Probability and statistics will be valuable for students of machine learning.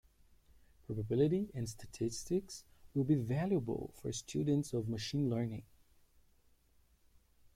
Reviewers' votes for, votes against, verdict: 2, 0, accepted